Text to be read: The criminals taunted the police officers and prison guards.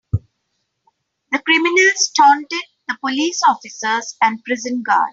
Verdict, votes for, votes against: rejected, 0, 2